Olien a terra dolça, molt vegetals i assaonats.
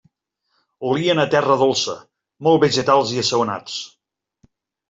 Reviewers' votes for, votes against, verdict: 2, 0, accepted